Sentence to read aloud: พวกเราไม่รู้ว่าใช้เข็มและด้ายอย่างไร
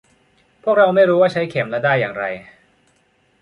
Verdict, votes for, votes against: accepted, 2, 0